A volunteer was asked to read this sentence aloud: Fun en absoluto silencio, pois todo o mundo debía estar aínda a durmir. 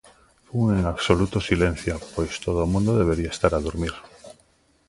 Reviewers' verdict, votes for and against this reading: rejected, 0, 3